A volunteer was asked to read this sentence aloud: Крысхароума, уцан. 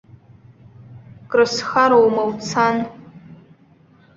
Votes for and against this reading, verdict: 1, 2, rejected